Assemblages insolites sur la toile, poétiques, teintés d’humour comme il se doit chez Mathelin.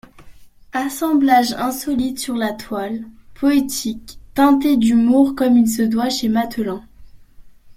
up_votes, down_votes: 2, 0